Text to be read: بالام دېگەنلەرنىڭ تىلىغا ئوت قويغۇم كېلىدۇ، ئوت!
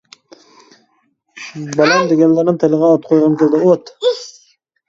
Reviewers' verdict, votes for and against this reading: rejected, 0, 2